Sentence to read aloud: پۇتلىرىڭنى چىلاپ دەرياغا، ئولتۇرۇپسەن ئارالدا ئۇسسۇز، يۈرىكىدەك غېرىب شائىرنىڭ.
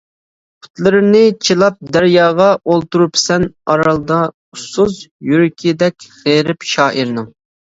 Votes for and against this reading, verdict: 0, 2, rejected